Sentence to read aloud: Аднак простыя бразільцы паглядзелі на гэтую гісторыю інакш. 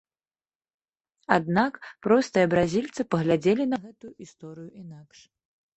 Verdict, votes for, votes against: rejected, 1, 2